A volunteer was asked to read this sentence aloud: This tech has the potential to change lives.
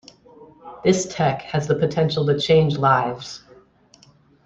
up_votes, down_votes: 2, 1